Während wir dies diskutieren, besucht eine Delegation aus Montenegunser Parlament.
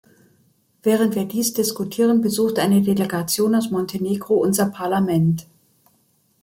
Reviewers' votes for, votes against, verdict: 1, 2, rejected